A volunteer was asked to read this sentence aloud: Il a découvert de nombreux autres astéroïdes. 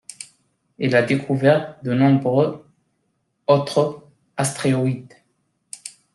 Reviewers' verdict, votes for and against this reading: rejected, 1, 2